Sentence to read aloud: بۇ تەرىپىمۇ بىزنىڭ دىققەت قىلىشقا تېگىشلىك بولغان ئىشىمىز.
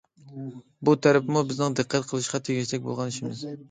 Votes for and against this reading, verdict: 2, 0, accepted